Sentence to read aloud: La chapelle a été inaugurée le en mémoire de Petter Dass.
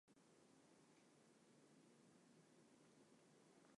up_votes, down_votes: 1, 2